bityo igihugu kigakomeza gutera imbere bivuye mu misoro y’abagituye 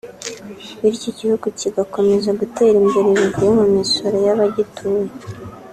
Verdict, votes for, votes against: accepted, 2, 0